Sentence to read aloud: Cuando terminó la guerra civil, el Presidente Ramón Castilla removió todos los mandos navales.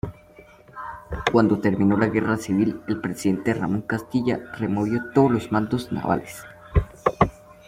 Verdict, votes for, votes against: accepted, 2, 0